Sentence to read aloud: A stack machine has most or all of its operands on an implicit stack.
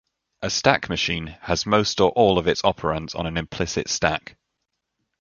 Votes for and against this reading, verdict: 2, 0, accepted